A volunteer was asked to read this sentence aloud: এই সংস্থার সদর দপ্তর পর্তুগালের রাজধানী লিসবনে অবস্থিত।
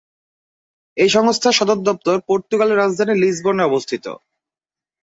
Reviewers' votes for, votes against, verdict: 0, 2, rejected